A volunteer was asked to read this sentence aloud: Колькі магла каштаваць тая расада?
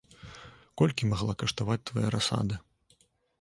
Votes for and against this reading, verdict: 1, 2, rejected